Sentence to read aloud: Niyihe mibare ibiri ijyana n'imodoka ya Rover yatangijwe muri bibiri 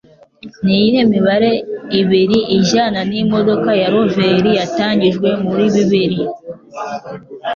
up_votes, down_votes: 2, 0